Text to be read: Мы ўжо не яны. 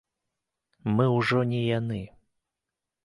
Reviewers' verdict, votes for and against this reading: accepted, 2, 0